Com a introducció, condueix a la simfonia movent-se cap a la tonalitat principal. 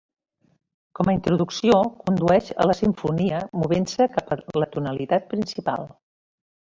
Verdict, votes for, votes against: accepted, 3, 0